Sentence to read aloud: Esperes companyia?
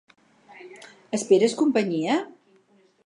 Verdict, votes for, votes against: accepted, 6, 0